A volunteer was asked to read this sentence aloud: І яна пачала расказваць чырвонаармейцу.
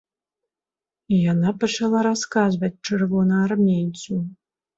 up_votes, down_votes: 2, 0